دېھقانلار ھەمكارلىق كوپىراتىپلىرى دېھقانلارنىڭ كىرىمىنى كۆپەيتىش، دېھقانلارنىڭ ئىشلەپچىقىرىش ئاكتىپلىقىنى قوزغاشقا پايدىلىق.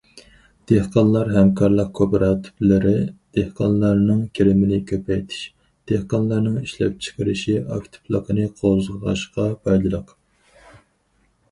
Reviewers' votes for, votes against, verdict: 0, 4, rejected